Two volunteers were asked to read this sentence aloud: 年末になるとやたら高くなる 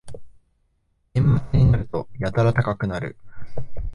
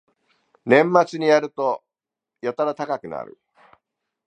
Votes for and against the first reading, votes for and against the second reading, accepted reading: 0, 2, 2, 0, second